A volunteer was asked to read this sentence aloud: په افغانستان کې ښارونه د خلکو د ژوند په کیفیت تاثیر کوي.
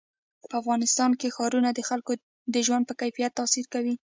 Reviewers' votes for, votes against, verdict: 2, 0, accepted